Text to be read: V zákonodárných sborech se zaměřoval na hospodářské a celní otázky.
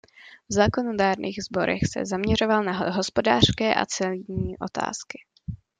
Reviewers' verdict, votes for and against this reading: rejected, 0, 2